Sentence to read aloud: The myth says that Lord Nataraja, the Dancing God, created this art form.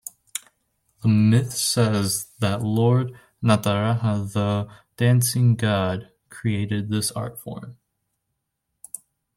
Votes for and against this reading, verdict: 2, 1, accepted